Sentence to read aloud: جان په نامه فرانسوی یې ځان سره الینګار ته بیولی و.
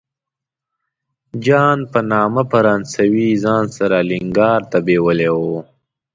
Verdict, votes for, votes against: accepted, 2, 0